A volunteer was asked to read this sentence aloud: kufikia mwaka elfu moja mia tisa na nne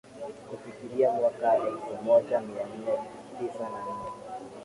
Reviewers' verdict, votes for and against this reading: rejected, 0, 2